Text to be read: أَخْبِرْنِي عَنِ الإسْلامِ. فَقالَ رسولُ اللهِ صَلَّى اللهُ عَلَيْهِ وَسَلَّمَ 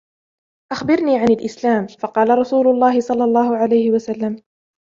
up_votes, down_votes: 2, 1